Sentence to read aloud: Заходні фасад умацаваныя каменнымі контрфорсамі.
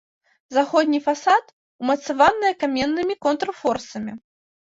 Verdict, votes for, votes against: accepted, 2, 0